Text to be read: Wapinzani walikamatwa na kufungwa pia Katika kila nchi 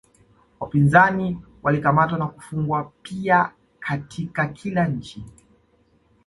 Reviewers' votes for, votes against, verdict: 2, 0, accepted